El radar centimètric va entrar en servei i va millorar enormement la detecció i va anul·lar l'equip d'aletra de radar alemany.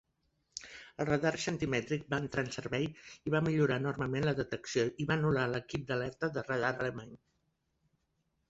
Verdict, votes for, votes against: accepted, 2, 0